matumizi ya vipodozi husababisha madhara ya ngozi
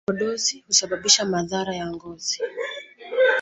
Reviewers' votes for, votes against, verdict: 0, 2, rejected